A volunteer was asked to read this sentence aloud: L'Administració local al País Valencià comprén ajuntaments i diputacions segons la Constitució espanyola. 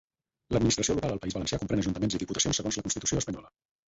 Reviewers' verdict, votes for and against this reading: rejected, 4, 6